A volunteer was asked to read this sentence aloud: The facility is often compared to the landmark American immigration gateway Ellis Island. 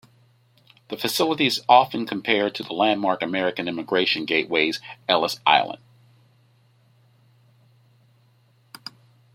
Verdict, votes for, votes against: rejected, 1, 2